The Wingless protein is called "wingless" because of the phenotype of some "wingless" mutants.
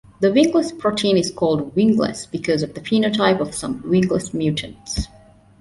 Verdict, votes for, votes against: accepted, 2, 0